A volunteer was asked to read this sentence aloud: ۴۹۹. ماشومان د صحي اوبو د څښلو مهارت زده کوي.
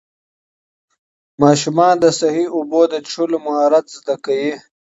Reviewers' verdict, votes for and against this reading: rejected, 0, 2